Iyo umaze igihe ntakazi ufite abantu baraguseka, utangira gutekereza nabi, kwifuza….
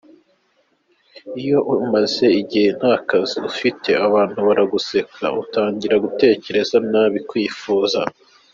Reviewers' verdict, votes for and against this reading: accepted, 3, 1